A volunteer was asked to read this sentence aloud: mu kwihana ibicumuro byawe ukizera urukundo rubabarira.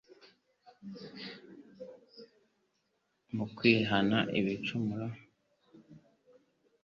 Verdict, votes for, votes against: rejected, 1, 2